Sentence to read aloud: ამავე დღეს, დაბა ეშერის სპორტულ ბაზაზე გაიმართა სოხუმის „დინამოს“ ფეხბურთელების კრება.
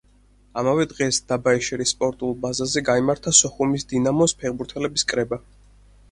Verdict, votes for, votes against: accepted, 4, 0